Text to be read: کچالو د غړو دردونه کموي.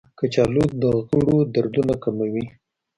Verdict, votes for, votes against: accepted, 2, 0